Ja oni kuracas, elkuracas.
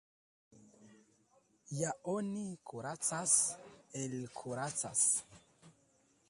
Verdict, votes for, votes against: rejected, 0, 2